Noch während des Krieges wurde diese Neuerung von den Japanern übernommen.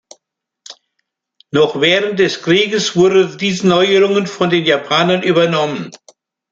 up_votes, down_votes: 1, 2